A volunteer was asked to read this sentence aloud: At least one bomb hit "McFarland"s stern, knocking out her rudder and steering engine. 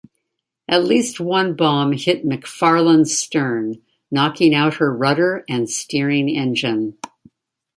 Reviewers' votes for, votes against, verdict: 2, 0, accepted